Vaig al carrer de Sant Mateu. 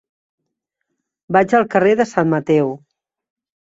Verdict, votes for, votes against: accepted, 4, 0